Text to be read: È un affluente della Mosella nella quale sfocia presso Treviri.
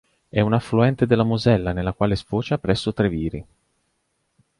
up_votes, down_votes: 3, 0